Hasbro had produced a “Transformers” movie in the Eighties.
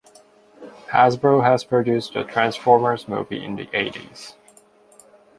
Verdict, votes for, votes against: rejected, 1, 2